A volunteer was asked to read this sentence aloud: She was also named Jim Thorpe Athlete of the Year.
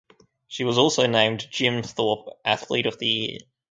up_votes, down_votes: 4, 0